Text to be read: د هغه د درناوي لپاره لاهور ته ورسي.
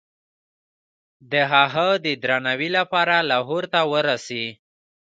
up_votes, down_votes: 1, 2